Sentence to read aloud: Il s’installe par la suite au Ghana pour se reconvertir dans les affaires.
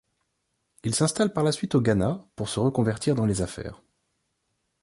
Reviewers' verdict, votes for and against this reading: accepted, 3, 0